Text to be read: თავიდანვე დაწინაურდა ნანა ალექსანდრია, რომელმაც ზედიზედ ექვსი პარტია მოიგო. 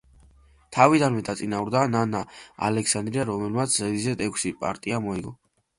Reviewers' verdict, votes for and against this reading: accepted, 2, 1